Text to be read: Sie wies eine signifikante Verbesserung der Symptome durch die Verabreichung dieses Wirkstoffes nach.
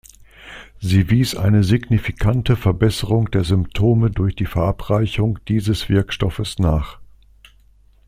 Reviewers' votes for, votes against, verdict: 2, 0, accepted